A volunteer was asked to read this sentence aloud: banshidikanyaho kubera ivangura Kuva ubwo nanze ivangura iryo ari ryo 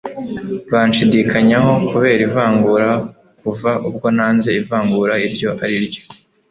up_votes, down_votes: 0, 2